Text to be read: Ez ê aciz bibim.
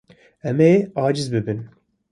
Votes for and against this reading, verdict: 0, 2, rejected